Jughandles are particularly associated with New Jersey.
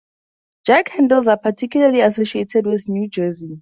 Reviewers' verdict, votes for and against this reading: accepted, 4, 0